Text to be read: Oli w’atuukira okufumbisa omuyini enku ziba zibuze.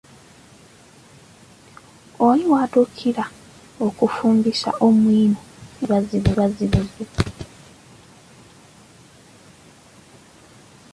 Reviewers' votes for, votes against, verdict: 0, 2, rejected